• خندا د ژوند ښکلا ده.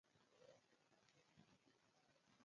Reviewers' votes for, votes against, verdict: 0, 2, rejected